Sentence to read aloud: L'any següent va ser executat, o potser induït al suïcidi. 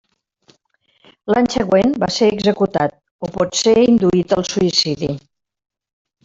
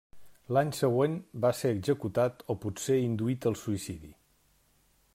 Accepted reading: second